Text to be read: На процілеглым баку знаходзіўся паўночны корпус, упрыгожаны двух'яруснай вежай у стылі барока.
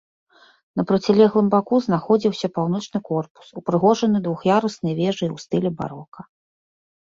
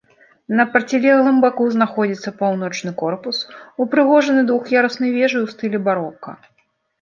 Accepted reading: first